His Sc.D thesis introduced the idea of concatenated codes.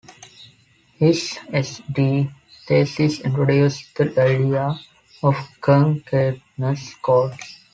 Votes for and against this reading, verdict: 0, 2, rejected